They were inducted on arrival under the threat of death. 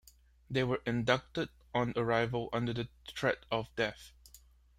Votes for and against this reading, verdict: 3, 2, accepted